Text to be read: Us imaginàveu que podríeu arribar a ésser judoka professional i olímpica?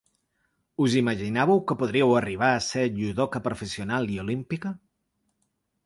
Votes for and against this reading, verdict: 2, 0, accepted